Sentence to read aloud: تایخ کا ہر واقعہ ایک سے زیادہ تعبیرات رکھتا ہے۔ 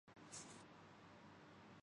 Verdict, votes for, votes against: rejected, 0, 3